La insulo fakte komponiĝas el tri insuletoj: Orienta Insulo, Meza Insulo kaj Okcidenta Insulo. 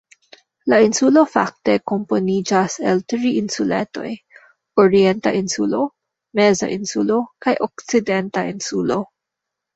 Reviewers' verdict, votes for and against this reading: rejected, 0, 2